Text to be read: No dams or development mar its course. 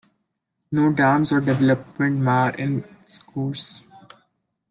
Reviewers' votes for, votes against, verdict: 0, 2, rejected